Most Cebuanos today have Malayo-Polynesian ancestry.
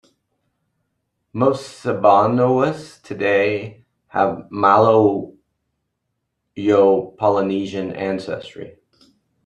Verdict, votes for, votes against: rejected, 0, 2